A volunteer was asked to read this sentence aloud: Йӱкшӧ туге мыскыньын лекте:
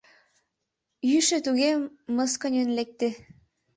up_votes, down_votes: 2, 3